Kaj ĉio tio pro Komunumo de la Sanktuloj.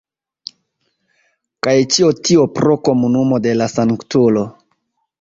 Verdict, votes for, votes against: accepted, 2, 0